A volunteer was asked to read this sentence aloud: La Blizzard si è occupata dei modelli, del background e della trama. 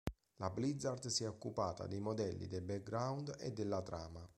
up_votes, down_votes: 2, 0